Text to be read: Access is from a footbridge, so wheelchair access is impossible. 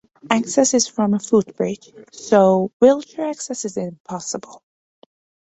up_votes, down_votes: 2, 0